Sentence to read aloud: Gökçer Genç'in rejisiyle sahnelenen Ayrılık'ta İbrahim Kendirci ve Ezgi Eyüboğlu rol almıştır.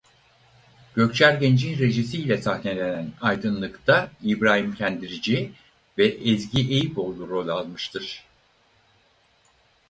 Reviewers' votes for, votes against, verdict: 0, 4, rejected